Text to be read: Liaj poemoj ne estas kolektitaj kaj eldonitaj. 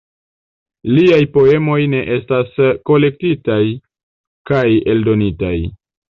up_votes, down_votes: 2, 1